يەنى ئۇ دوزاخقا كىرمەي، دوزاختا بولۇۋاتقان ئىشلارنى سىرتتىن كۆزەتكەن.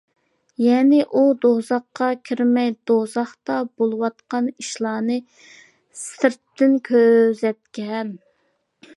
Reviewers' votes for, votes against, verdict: 2, 0, accepted